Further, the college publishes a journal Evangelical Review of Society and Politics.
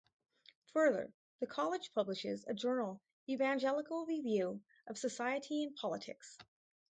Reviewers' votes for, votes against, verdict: 2, 0, accepted